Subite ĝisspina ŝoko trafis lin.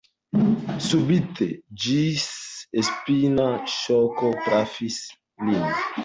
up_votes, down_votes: 2, 0